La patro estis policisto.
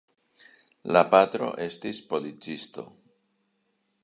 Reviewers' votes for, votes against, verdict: 2, 0, accepted